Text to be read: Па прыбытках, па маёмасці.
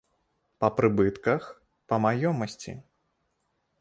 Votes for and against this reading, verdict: 2, 0, accepted